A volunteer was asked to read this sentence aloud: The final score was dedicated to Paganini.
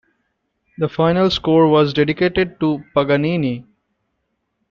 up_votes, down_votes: 2, 1